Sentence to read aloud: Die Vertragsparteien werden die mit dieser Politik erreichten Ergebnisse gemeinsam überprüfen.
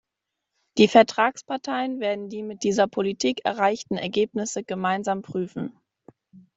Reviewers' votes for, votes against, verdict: 0, 2, rejected